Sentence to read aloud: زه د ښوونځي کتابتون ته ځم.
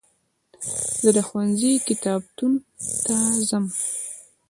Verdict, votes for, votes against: accepted, 2, 1